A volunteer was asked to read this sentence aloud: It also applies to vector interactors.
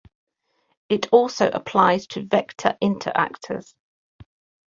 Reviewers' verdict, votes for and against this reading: accepted, 2, 0